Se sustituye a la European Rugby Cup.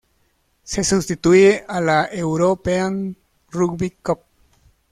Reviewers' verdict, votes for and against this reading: accepted, 2, 0